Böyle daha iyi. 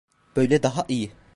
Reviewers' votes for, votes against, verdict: 1, 2, rejected